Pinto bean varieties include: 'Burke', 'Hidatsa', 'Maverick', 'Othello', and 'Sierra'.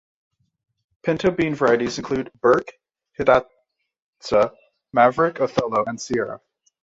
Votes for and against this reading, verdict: 1, 2, rejected